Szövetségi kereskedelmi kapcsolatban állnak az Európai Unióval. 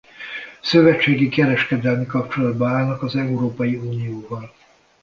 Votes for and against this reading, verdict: 0, 2, rejected